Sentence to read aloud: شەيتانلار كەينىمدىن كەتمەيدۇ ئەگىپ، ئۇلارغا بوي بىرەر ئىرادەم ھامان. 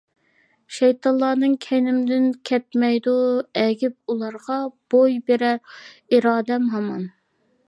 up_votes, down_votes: 0, 2